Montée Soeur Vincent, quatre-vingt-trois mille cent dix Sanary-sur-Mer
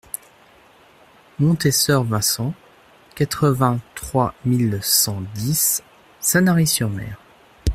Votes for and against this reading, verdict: 2, 0, accepted